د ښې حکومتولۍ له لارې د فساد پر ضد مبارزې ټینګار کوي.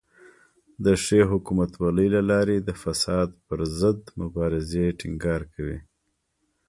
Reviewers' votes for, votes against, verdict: 2, 0, accepted